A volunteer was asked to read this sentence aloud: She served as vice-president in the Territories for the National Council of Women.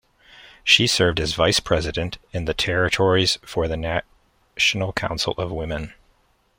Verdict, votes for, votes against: rejected, 1, 2